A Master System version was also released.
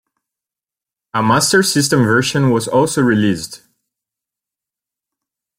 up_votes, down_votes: 2, 0